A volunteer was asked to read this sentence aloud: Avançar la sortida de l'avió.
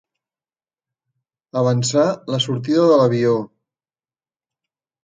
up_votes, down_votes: 3, 0